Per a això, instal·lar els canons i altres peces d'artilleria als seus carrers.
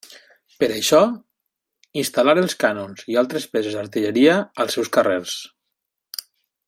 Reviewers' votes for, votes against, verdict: 1, 2, rejected